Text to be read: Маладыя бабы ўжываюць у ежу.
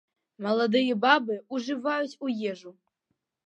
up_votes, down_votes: 1, 2